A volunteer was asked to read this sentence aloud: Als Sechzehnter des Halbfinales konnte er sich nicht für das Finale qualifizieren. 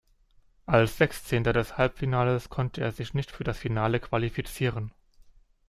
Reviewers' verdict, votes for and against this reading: rejected, 0, 2